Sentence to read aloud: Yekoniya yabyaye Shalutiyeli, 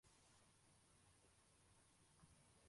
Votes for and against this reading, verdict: 0, 2, rejected